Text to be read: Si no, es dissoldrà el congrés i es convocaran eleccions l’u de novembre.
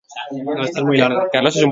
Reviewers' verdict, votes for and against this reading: rejected, 0, 2